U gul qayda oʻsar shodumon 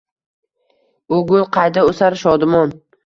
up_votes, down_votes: 2, 0